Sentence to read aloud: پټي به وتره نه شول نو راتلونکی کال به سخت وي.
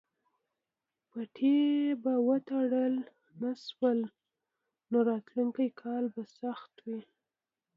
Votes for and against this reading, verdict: 1, 2, rejected